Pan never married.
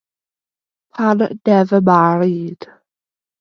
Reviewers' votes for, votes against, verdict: 0, 2, rejected